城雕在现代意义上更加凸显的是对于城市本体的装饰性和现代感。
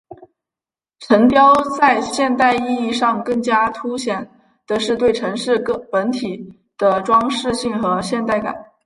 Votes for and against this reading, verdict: 2, 0, accepted